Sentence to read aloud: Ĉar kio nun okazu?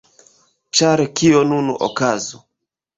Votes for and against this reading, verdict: 1, 2, rejected